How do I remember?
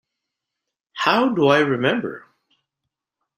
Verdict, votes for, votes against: accepted, 2, 0